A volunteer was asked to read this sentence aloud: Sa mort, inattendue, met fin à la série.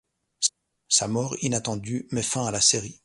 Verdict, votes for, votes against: rejected, 1, 2